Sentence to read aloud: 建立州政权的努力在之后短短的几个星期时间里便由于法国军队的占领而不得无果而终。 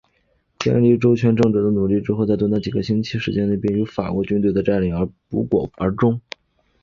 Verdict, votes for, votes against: rejected, 2, 3